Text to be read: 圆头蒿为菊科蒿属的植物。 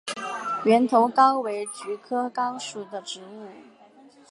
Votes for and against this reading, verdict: 0, 2, rejected